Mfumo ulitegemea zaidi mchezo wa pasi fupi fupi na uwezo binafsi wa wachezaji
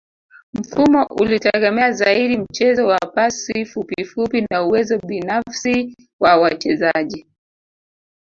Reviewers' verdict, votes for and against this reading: rejected, 0, 2